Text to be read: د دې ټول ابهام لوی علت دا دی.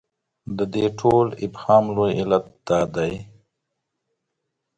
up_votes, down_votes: 2, 0